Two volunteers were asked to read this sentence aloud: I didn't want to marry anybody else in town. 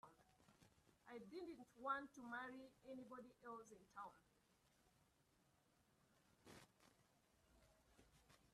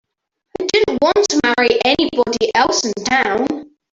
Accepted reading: second